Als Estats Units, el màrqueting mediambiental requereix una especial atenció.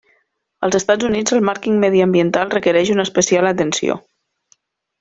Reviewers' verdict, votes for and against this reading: rejected, 0, 2